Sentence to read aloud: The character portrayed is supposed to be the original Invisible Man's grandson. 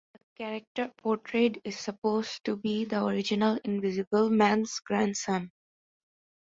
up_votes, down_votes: 2, 1